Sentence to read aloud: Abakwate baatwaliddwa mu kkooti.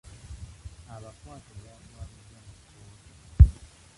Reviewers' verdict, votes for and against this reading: rejected, 0, 2